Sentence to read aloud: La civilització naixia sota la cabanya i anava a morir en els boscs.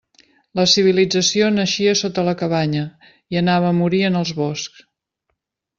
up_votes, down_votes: 2, 0